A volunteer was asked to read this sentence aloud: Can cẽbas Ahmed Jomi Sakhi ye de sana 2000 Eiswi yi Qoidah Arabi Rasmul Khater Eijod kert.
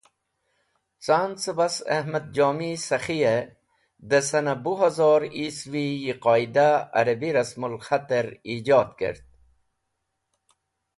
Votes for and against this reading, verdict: 0, 2, rejected